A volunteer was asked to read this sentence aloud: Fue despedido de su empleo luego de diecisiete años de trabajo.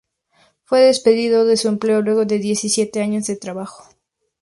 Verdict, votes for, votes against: accepted, 2, 0